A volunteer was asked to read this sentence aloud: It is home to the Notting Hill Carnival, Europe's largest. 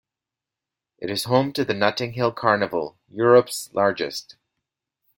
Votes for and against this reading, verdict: 2, 0, accepted